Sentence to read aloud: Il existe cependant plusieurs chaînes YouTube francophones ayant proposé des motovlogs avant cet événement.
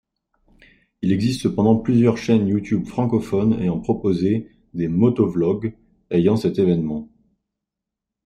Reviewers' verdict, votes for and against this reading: rejected, 0, 2